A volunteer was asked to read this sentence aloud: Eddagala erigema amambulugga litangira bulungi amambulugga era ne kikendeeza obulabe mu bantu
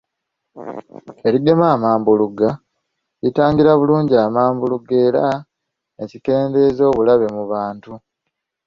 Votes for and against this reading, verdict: 1, 2, rejected